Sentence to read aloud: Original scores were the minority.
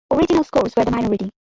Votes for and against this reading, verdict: 1, 2, rejected